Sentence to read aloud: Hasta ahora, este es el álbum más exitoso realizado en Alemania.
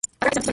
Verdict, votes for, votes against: rejected, 0, 2